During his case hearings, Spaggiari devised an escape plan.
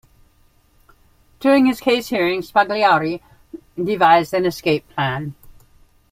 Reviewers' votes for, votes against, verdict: 0, 2, rejected